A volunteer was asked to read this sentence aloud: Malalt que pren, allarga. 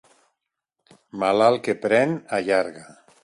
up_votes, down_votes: 2, 0